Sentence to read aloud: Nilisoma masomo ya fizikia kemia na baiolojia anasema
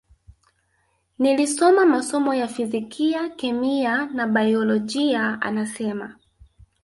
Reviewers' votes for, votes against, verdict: 1, 2, rejected